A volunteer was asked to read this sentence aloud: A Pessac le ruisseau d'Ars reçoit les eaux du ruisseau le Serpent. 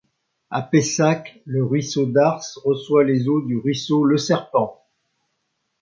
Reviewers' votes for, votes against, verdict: 2, 0, accepted